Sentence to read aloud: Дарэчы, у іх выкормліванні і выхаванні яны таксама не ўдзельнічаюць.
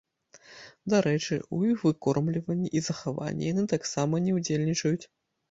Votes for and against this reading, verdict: 1, 2, rejected